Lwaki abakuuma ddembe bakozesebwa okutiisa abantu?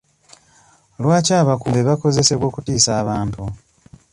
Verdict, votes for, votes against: rejected, 0, 2